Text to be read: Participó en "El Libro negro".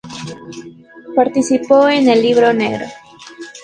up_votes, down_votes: 2, 0